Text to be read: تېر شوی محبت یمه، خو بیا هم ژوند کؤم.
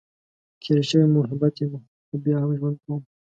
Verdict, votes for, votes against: accepted, 2, 0